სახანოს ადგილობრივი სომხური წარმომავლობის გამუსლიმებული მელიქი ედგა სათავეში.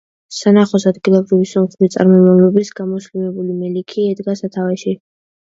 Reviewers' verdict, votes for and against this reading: rejected, 0, 2